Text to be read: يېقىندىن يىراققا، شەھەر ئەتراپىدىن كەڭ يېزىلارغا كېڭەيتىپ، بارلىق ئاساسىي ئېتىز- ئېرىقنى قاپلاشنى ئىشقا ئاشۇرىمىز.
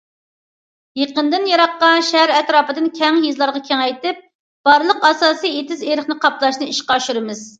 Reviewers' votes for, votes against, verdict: 2, 0, accepted